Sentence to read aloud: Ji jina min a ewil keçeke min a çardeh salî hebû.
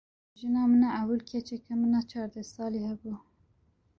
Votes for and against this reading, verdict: 0, 2, rejected